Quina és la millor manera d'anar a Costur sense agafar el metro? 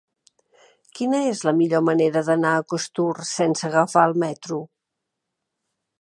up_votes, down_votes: 3, 0